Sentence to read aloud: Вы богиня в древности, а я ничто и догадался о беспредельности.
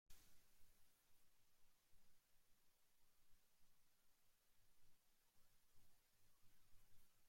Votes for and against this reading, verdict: 0, 2, rejected